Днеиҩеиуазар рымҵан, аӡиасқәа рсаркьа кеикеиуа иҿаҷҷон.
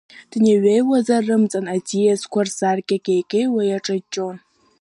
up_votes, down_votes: 4, 1